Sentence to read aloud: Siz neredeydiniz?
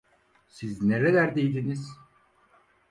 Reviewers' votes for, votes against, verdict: 0, 4, rejected